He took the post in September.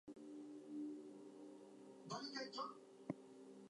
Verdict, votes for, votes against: rejected, 0, 2